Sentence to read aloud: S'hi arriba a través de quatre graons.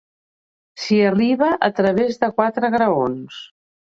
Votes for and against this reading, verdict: 2, 1, accepted